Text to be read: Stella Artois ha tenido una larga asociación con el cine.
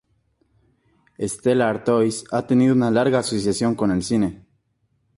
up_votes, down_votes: 2, 0